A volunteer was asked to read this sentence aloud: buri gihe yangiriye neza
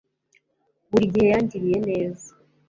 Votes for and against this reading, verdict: 2, 0, accepted